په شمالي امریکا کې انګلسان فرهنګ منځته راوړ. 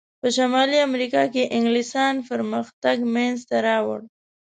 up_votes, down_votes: 0, 2